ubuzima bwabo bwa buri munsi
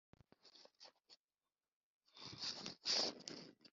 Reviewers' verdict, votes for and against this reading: rejected, 0, 2